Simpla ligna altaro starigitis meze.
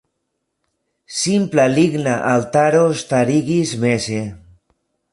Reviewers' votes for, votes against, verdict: 2, 0, accepted